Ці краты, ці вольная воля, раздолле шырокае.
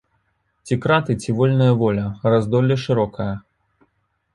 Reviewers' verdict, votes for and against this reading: accepted, 2, 0